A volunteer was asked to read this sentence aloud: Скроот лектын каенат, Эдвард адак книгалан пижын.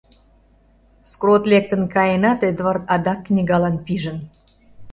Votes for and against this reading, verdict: 0, 2, rejected